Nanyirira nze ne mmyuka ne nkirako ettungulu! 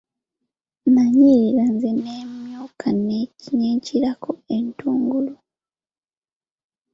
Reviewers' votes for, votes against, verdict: 0, 2, rejected